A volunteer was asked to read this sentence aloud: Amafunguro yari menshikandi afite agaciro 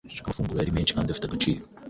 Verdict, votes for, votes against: rejected, 1, 3